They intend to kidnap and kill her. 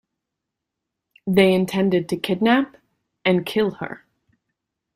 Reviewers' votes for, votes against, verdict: 1, 2, rejected